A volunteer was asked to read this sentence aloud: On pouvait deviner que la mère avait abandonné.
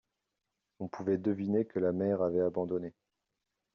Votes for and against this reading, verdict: 2, 0, accepted